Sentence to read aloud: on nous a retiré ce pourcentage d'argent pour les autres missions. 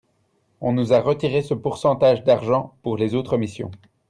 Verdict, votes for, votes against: accepted, 2, 0